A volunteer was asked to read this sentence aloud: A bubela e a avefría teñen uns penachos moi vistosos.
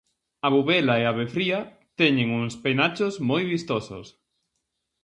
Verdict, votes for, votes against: accepted, 4, 0